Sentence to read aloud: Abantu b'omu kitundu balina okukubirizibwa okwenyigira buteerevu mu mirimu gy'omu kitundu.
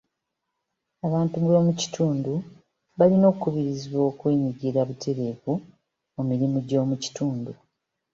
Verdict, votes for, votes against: accepted, 2, 0